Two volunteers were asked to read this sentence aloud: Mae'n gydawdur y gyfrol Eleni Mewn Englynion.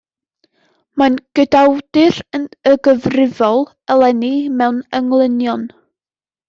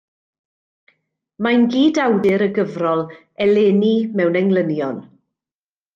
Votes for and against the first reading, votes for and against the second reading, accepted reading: 0, 2, 2, 0, second